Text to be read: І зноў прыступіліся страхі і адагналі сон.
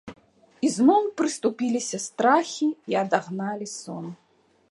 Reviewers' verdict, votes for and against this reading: accepted, 2, 0